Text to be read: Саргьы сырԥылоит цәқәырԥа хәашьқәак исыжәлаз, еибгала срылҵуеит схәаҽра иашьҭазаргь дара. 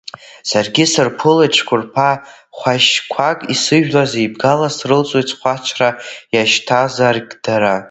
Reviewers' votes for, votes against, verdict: 1, 2, rejected